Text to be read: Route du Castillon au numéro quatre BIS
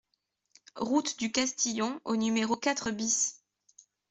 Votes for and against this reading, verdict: 2, 0, accepted